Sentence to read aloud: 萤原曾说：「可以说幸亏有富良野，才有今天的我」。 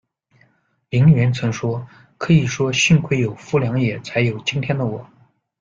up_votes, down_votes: 2, 1